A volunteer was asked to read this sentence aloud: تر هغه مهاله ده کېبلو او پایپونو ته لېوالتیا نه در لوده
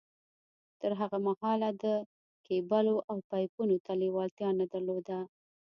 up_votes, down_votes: 1, 2